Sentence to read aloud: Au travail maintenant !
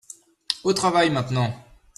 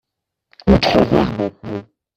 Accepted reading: first